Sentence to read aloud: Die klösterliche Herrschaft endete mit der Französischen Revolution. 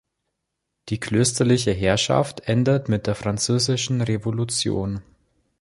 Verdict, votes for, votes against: rejected, 3, 4